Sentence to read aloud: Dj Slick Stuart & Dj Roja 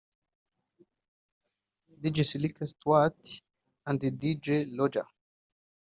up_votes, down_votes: 1, 3